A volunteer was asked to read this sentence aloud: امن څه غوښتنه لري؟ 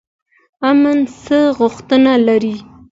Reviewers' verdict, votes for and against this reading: accepted, 2, 0